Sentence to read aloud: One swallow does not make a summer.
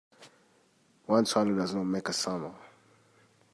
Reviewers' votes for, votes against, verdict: 1, 2, rejected